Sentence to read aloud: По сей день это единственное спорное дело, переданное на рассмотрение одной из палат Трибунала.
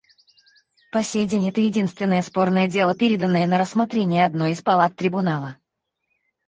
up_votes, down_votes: 2, 4